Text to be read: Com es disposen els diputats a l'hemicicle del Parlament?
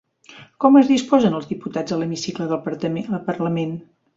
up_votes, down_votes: 1, 3